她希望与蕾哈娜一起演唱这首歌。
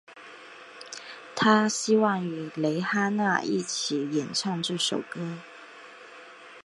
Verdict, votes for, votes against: accepted, 3, 0